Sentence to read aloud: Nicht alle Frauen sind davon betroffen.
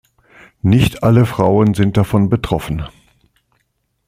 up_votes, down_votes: 2, 0